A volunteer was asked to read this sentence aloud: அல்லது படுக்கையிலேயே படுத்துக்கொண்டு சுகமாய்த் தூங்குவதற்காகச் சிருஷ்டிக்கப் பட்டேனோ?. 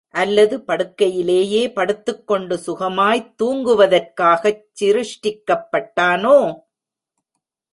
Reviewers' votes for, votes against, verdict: 0, 2, rejected